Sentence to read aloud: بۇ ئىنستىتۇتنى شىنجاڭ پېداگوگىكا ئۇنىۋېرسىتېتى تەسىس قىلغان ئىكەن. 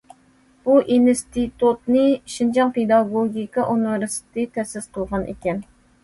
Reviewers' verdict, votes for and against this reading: accepted, 2, 0